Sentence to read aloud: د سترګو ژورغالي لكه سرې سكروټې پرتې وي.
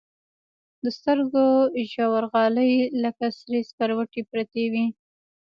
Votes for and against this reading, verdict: 2, 0, accepted